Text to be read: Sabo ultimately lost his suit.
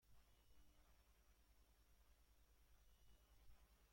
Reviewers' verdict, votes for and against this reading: rejected, 0, 2